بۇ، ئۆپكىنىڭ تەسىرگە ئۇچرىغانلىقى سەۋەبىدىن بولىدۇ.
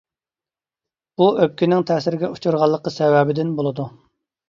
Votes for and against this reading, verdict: 2, 0, accepted